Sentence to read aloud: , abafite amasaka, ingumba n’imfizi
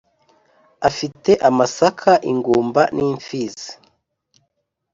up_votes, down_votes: 1, 2